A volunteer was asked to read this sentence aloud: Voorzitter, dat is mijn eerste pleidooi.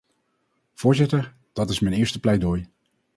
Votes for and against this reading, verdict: 4, 0, accepted